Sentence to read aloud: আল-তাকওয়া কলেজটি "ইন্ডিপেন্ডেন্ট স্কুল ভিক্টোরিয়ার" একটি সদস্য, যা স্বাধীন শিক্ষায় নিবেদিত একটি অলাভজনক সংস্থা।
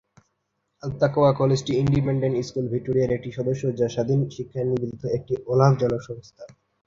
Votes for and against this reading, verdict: 0, 2, rejected